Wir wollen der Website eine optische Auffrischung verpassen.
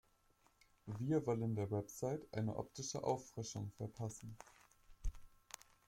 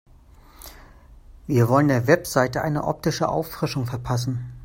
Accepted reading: first